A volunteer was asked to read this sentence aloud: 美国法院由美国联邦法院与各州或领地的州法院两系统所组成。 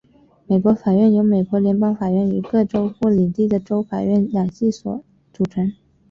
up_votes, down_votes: 3, 0